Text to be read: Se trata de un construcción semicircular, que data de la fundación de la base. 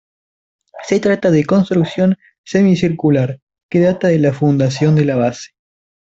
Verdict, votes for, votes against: rejected, 1, 2